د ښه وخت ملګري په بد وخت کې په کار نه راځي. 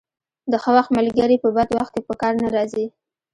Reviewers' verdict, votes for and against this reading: accepted, 2, 0